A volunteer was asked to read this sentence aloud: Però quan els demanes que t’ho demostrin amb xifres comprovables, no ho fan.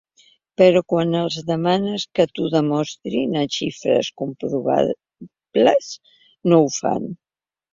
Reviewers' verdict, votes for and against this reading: rejected, 2, 3